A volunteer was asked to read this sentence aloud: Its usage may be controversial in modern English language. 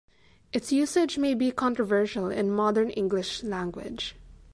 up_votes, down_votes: 2, 0